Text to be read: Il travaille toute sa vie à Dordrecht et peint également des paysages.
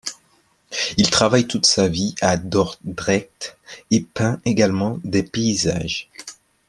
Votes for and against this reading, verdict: 0, 2, rejected